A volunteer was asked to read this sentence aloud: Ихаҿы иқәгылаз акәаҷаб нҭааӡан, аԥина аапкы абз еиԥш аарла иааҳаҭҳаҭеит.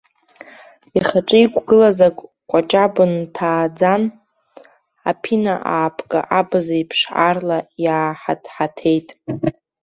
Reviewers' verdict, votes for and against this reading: rejected, 0, 2